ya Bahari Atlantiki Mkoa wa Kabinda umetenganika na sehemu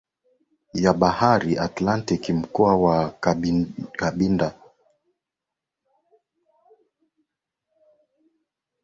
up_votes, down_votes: 6, 12